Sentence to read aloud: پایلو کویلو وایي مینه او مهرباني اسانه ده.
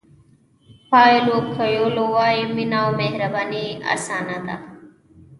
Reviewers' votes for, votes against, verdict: 1, 2, rejected